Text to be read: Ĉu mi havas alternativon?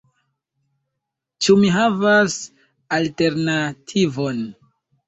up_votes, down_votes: 0, 2